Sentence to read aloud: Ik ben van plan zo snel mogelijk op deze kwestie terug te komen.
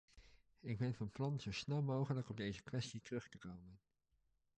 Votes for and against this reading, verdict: 0, 2, rejected